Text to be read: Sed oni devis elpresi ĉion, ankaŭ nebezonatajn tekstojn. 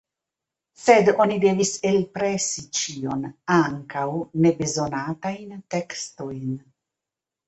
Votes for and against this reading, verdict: 1, 2, rejected